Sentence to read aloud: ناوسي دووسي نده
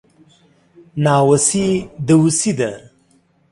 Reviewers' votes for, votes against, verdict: 1, 2, rejected